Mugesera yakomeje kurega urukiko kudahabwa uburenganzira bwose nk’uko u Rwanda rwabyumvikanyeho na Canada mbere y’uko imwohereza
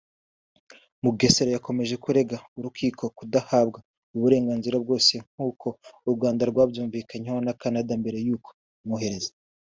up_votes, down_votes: 3, 0